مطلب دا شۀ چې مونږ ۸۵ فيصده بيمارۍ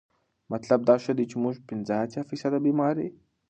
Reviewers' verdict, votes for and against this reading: rejected, 0, 2